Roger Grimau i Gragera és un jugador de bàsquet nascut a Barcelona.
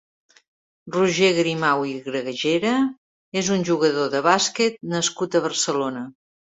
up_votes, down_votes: 1, 2